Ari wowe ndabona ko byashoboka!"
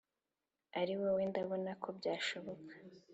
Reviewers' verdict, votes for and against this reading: accepted, 3, 0